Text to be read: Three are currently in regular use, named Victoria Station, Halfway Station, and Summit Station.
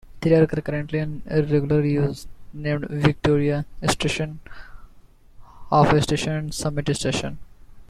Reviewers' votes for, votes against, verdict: 0, 2, rejected